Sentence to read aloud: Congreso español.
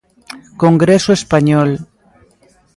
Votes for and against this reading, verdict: 1, 2, rejected